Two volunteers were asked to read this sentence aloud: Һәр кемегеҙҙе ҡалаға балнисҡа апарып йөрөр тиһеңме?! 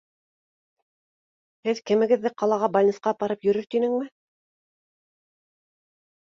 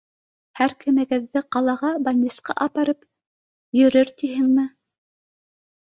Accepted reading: second